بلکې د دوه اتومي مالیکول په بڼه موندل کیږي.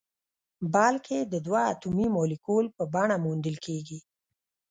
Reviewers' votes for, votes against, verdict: 1, 2, rejected